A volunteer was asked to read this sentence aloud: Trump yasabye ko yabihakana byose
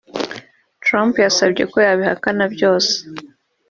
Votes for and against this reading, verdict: 4, 0, accepted